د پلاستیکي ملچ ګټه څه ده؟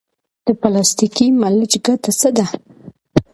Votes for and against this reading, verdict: 2, 0, accepted